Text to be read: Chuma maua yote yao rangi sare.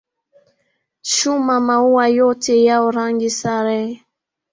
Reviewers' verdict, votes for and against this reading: accepted, 3, 1